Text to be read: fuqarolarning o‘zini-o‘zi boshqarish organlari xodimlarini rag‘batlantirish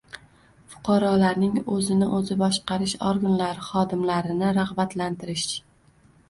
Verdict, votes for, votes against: rejected, 1, 2